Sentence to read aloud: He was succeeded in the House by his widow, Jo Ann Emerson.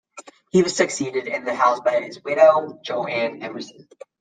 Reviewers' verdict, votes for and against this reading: accepted, 2, 0